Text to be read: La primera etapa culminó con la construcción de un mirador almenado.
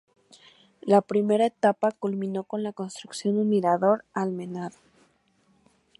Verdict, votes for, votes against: accepted, 2, 0